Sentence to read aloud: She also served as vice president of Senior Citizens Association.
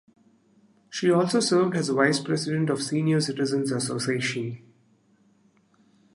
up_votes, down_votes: 2, 0